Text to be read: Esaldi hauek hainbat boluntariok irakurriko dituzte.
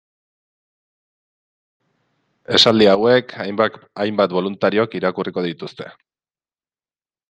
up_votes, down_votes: 0, 2